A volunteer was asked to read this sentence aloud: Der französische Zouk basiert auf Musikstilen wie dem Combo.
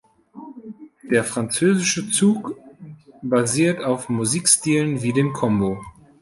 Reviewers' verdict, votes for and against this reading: rejected, 1, 2